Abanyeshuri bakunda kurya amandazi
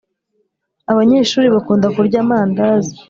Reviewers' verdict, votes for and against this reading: accepted, 2, 0